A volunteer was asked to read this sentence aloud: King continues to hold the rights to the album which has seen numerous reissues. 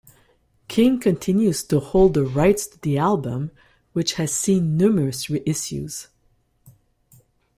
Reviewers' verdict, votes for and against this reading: accepted, 2, 0